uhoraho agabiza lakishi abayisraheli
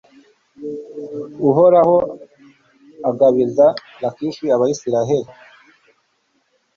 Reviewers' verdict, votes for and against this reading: accepted, 2, 0